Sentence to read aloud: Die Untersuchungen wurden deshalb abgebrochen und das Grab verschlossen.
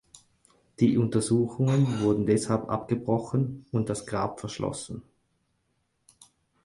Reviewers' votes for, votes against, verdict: 4, 0, accepted